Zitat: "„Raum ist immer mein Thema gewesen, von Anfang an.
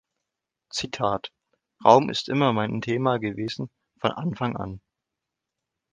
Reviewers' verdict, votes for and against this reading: accepted, 2, 0